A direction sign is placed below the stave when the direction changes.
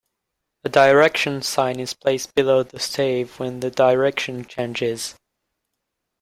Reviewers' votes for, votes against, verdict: 2, 0, accepted